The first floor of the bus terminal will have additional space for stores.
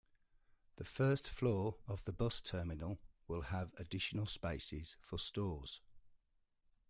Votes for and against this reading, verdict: 1, 2, rejected